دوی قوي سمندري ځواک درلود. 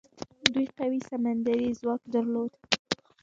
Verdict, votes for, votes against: accepted, 2, 1